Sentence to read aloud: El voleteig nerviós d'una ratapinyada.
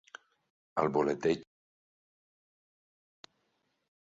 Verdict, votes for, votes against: rejected, 0, 2